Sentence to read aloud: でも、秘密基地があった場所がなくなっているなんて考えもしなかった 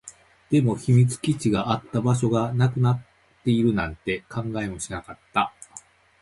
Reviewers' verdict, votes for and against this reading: accepted, 2, 0